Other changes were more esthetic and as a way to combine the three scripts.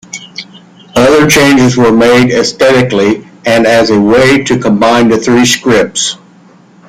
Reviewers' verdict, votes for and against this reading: rejected, 1, 2